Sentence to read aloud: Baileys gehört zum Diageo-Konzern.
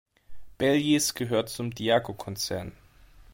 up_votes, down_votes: 0, 2